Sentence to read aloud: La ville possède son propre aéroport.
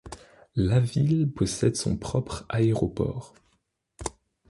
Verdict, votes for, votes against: accepted, 2, 0